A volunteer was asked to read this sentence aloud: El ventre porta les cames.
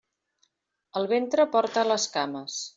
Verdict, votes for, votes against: accepted, 3, 0